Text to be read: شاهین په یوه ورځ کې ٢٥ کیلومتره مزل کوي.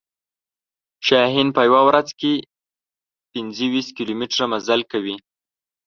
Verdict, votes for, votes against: rejected, 0, 2